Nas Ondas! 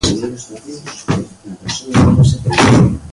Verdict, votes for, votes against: rejected, 0, 2